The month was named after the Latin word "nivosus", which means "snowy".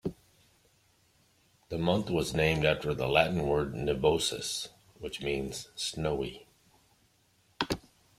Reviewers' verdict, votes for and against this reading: accepted, 2, 0